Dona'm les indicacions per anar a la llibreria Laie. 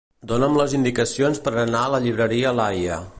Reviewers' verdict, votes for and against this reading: accepted, 2, 0